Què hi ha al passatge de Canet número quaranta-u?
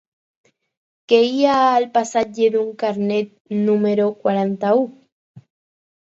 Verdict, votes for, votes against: accepted, 4, 2